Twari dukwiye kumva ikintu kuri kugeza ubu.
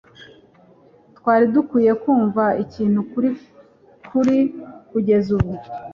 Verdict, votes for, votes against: accepted, 2, 1